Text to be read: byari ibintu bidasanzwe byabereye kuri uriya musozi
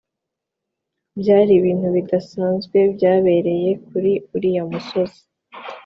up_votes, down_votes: 2, 0